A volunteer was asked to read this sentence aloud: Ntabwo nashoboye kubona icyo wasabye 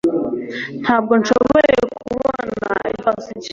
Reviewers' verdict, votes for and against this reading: rejected, 1, 2